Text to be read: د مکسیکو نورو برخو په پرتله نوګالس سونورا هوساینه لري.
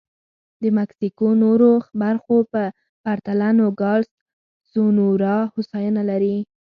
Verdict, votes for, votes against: accepted, 2, 0